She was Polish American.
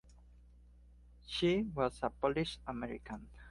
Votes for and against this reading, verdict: 2, 0, accepted